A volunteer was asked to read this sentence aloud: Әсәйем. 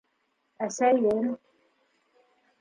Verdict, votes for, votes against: accepted, 2, 0